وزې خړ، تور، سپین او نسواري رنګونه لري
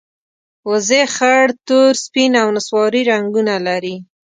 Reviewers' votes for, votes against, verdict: 2, 0, accepted